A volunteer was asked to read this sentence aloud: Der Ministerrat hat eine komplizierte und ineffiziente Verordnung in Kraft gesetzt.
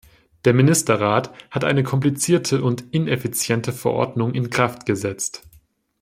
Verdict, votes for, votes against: accepted, 2, 0